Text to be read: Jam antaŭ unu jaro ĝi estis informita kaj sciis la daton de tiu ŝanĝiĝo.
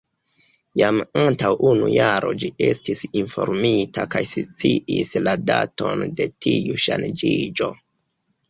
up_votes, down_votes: 0, 2